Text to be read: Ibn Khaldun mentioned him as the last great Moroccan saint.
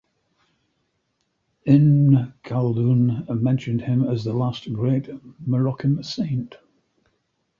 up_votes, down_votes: 2, 0